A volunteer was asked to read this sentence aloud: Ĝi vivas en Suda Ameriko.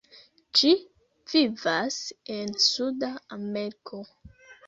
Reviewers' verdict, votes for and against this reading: rejected, 0, 2